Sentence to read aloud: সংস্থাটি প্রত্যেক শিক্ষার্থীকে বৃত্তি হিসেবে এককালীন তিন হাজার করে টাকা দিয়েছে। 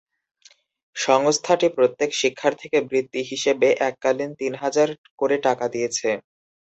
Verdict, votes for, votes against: accepted, 2, 0